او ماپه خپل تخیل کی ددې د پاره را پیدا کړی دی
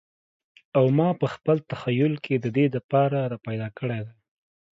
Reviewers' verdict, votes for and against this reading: accepted, 2, 0